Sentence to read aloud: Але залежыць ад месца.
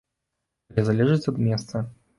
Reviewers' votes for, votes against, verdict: 0, 2, rejected